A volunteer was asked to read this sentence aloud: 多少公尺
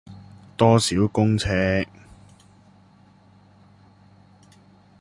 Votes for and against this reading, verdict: 0, 2, rejected